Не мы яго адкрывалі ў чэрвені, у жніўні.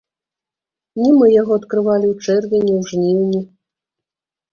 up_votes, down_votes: 1, 2